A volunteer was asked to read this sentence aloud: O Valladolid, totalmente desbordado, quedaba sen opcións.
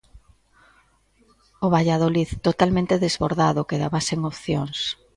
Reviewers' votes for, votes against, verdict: 2, 0, accepted